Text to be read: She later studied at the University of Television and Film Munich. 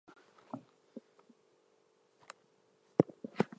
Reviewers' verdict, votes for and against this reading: rejected, 0, 2